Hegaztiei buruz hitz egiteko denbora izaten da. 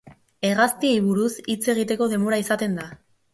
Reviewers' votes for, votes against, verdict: 2, 0, accepted